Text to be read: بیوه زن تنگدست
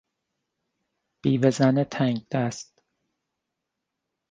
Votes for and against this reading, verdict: 2, 0, accepted